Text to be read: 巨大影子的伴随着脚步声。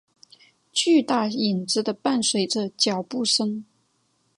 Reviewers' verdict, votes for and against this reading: accepted, 3, 0